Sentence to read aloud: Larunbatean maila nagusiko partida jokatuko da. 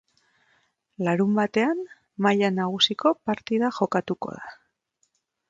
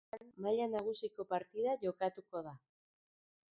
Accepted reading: first